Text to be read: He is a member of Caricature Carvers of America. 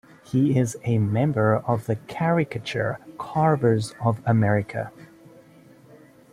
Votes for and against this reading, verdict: 2, 1, accepted